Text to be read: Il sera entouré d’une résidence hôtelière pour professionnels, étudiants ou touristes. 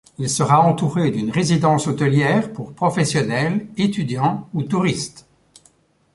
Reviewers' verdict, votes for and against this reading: accepted, 2, 0